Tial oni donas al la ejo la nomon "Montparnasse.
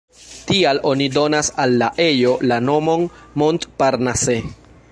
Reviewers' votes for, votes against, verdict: 1, 2, rejected